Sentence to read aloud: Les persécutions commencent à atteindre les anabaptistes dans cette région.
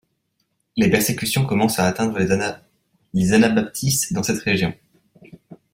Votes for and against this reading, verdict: 0, 2, rejected